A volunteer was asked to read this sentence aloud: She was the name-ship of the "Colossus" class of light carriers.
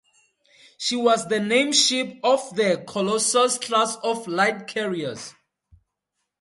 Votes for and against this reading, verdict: 2, 0, accepted